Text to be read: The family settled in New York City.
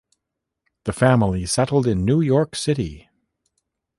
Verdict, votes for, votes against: accepted, 2, 0